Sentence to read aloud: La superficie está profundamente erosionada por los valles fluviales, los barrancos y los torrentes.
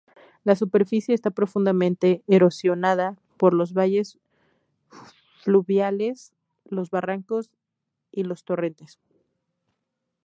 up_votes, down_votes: 0, 2